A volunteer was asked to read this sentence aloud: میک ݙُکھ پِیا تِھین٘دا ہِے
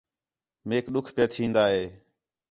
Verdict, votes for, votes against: accepted, 4, 0